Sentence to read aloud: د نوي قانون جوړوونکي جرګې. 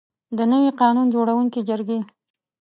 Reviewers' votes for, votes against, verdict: 2, 0, accepted